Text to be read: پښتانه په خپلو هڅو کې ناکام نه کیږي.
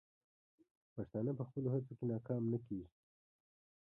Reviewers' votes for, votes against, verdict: 2, 0, accepted